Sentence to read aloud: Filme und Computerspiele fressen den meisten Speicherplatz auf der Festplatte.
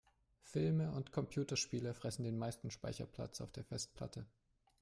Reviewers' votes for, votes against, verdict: 2, 0, accepted